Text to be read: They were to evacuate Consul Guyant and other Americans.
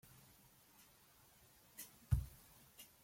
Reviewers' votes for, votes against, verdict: 0, 2, rejected